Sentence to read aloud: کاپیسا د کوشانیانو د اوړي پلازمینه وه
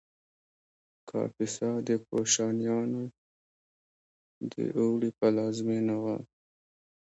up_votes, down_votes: 1, 3